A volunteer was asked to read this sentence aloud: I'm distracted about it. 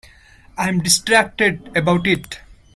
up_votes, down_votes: 2, 0